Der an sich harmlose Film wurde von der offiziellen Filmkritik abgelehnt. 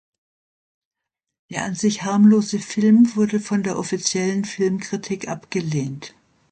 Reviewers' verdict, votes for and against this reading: accepted, 2, 0